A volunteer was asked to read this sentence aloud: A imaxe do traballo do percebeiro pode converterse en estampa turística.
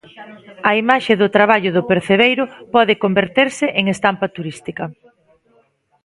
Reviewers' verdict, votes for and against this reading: rejected, 1, 2